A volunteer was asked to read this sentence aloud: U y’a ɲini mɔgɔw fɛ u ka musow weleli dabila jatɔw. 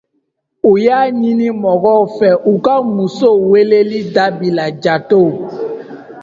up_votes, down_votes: 2, 0